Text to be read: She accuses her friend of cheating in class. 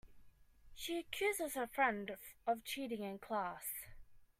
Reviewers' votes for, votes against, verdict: 2, 0, accepted